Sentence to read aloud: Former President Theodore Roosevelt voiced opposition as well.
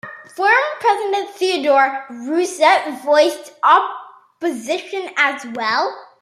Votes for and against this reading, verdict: 1, 2, rejected